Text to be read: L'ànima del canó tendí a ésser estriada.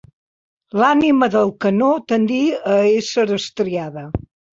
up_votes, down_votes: 2, 0